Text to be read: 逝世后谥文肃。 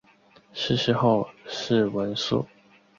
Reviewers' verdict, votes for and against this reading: accepted, 3, 1